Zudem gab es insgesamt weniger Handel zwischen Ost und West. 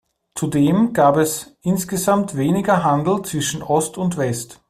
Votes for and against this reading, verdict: 2, 0, accepted